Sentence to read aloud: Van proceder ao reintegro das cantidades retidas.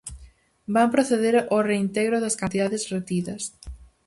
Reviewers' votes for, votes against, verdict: 4, 0, accepted